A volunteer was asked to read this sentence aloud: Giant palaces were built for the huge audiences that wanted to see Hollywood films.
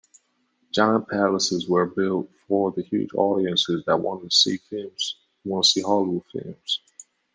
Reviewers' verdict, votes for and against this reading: rejected, 0, 2